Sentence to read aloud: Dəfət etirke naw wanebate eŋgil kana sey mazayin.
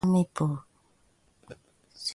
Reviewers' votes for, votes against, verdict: 1, 2, rejected